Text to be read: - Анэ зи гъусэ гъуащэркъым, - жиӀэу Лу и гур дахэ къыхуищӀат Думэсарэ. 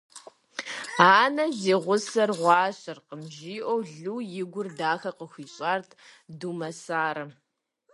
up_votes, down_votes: 2, 0